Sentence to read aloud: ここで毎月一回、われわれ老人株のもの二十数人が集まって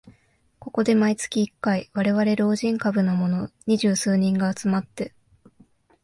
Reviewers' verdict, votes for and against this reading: accepted, 2, 0